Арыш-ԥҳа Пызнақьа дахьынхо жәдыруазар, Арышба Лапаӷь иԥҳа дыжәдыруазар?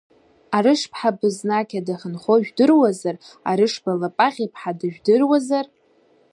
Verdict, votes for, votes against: rejected, 1, 2